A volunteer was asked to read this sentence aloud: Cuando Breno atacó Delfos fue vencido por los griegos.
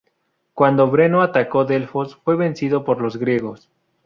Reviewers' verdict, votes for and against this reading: accepted, 4, 0